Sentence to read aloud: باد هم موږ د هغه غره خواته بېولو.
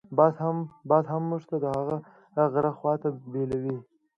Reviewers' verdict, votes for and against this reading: rejected, 0, 2